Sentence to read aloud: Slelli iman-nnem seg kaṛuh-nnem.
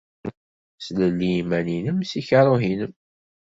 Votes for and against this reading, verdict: 2, 0, accepted